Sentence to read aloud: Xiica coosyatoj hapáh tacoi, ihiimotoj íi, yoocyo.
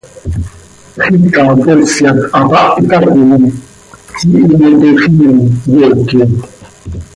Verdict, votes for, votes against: rejected, 1, 2